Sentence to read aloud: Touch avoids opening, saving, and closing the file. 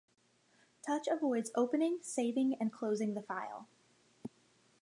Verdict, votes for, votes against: accepted, 2, 0